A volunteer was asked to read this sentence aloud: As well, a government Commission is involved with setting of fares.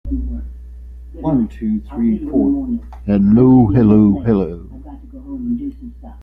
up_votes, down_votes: 0, 2